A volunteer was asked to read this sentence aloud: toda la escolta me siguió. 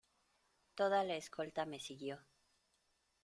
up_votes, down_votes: 2, 0